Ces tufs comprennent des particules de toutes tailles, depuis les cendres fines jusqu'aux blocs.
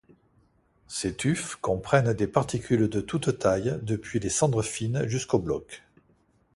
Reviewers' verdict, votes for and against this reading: accepted, 2, 0